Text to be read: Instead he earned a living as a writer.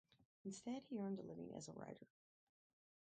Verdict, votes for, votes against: rejected, 2, 2